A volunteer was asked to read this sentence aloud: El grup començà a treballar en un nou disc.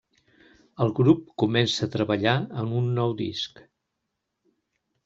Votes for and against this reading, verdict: 0, 2, rejected